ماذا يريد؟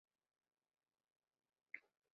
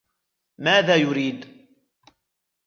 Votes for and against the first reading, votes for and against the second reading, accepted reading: 1, 2, 2, 1, second